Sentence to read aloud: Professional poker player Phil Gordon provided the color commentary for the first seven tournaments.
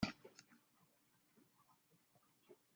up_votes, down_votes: 0, 2